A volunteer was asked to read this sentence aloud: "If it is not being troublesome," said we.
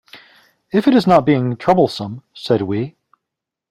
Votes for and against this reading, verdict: 2, 0, accepted